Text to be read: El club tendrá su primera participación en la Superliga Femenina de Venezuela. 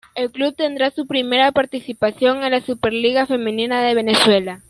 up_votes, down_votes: 2, 0